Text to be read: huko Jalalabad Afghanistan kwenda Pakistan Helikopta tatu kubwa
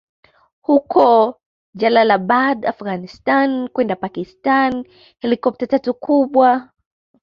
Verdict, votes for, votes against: accepted, 2, 0